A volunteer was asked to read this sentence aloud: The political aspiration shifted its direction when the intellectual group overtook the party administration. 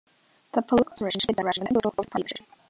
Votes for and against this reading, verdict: 0, 2, rejected